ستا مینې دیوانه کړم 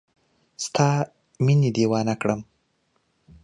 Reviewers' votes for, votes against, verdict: 2, 0, accepted